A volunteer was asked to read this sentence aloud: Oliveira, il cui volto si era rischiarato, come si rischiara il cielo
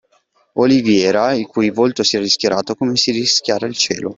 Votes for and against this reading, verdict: 2, 1, accepted